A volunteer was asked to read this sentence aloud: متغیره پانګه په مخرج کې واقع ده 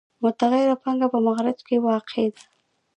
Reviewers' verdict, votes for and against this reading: accepted, 2, 1